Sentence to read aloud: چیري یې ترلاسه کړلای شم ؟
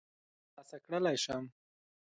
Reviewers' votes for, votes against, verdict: 1, 2, rejected